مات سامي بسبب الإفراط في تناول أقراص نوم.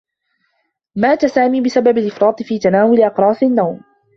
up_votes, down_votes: 2, 3